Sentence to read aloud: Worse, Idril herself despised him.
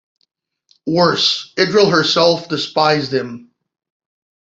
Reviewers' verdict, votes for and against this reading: rejected, 1, 2